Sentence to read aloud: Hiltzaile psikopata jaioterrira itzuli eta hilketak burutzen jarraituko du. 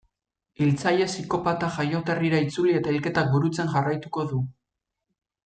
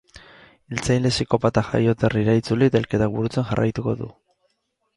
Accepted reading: first